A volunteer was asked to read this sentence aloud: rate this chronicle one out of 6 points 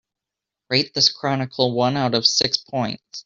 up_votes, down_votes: 0, 2